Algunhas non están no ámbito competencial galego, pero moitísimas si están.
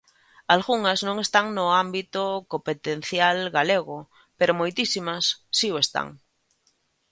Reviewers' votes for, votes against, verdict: 1, 2, rejected